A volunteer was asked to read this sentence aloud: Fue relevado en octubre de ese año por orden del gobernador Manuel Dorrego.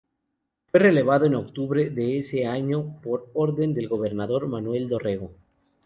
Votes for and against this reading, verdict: 2, 0, accepted